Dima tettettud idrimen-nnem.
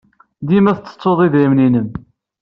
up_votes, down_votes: 2, 0